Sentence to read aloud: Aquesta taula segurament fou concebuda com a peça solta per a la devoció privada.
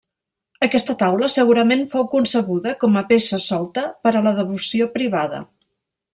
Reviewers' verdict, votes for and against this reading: accepted, 3, 0